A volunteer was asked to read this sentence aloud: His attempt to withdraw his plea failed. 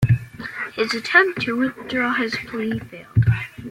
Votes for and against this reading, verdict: 2, 1, accepted